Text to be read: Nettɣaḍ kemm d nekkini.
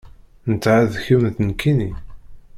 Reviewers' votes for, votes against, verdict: 1, 2, rejected